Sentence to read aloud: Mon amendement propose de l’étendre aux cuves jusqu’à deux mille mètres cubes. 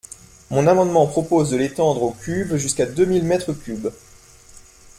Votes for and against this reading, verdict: 2, 0, accepted